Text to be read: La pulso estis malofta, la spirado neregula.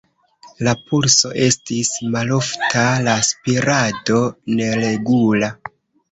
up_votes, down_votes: 2, 0